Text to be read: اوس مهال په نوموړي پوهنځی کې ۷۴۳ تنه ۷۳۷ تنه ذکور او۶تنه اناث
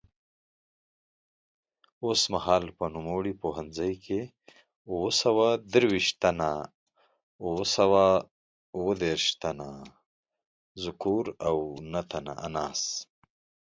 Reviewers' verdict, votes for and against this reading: rejected, 0, 2